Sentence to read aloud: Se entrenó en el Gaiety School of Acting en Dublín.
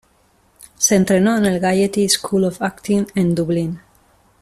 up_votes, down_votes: 2, 0